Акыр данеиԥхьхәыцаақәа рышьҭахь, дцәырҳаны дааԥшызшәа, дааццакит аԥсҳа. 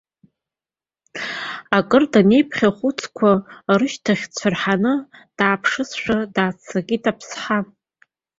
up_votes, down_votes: 1, 3